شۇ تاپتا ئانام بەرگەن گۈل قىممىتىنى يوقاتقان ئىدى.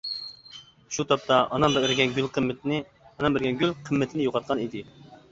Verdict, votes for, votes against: rejected, 0, 2